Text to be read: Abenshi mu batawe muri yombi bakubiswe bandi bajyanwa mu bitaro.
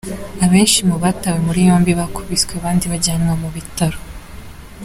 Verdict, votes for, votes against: accepted, 2, 0